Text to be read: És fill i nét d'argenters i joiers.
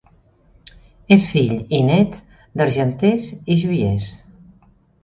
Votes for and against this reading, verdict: 4, 0, accepted